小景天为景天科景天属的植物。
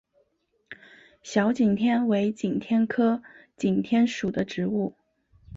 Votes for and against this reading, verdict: 4, 0, accepted